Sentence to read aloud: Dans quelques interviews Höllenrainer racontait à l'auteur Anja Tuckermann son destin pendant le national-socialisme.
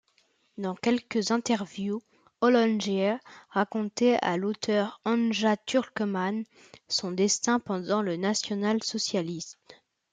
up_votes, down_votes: 0, 2